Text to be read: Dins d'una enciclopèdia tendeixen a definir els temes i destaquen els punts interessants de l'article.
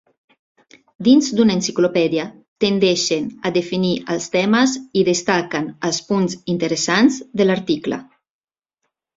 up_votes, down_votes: 3, 0